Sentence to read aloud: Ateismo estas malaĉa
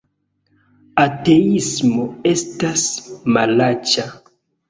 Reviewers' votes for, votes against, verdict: 2, 0, accepted